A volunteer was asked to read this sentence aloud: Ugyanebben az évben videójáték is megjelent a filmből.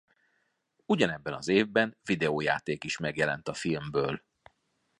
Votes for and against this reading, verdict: 2, 0, accepted